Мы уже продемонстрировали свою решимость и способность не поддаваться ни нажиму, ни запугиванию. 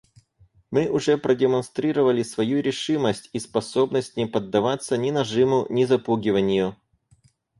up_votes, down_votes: 4, 0